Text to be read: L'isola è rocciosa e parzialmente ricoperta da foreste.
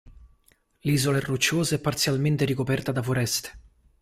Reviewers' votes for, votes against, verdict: 2, 1, accepted